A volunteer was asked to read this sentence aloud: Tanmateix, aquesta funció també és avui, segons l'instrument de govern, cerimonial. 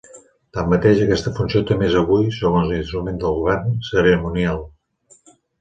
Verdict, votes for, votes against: accepted, 2, 1